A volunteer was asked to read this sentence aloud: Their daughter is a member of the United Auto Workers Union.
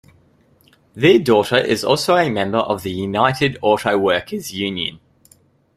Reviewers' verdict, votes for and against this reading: rejected, 0, 2